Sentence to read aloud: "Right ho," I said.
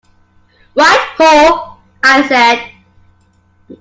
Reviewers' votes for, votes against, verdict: 2, 0, accepted